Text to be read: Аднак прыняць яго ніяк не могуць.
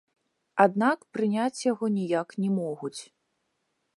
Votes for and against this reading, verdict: 1, 2, rejected